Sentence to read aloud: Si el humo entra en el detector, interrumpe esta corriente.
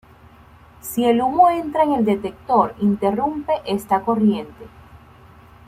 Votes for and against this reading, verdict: 2, 0, accepted